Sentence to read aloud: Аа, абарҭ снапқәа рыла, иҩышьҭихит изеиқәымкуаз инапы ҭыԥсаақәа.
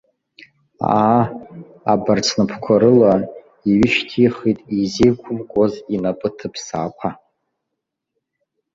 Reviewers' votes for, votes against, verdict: 1, 2, rejected